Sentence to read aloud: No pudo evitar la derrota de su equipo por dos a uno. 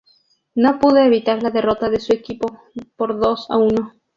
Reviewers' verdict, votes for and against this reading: accepted, 2, 0